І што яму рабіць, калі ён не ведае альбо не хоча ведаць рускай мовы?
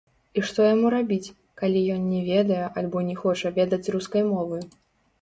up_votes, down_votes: 1, 2